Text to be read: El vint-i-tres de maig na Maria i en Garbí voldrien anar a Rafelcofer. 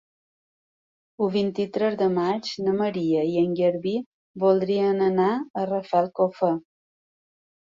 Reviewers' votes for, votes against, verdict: 2, 0, accepted